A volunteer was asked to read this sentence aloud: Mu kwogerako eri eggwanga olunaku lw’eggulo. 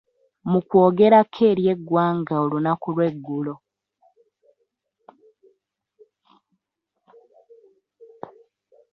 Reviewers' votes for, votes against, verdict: 1, 2, rejected